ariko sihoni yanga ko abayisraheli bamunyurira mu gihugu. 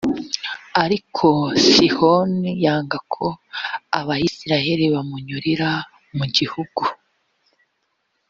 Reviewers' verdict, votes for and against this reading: accepted, 2, 1